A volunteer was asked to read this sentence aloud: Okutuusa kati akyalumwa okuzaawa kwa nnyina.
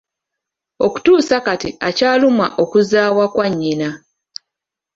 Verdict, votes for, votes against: accepted, 2, 0